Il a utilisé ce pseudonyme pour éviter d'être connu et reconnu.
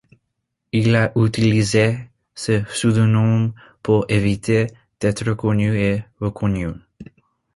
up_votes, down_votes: 2, 0